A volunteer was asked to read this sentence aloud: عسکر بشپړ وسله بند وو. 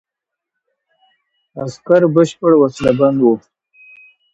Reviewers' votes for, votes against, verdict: 2, 0, accepted